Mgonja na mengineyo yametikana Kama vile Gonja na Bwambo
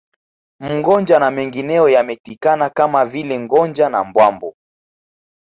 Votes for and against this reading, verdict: 2, 0, accepted